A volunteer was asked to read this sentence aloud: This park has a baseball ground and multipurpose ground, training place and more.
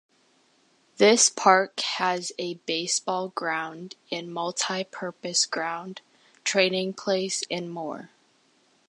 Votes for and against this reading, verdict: 2, 1, accepted